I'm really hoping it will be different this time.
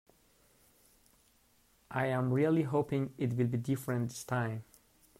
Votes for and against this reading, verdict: 0, 2, rejected